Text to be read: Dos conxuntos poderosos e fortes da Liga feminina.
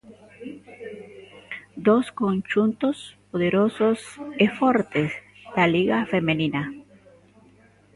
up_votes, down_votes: 0, 2